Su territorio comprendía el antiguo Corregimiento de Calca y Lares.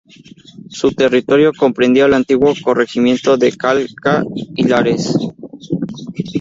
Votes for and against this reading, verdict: 0, 4, rejected